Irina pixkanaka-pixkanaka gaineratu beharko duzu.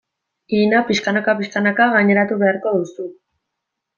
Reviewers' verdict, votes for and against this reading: accepted, 2, 0